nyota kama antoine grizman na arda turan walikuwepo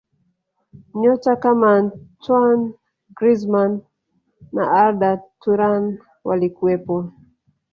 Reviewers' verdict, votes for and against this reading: rejected, 1, 2